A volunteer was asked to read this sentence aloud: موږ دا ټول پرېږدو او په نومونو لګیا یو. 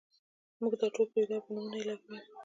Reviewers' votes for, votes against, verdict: 2, 0, accepted